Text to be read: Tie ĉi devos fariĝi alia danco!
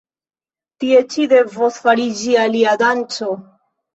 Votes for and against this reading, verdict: 2, 0, accepted